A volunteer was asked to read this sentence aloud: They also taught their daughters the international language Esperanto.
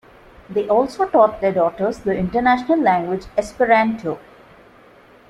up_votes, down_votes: 2, 0